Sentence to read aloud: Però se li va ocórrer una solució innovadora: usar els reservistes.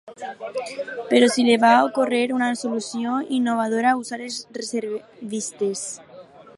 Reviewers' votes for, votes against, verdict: 4, 0, accepted